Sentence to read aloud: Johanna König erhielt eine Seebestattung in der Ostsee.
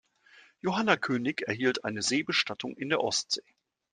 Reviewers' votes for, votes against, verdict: 2, 0, accepted